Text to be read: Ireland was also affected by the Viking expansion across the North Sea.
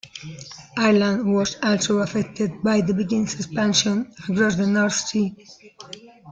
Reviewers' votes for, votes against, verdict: 1, 2, rejected